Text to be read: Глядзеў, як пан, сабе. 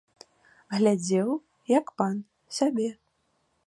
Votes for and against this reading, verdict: 2, 0, accepted